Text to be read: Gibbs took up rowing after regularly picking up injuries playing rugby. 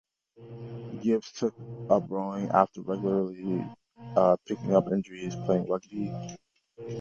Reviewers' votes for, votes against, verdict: 0, 2, rejected